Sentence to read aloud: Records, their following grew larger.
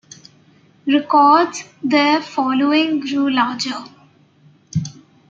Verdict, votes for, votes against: accepted, 2, 0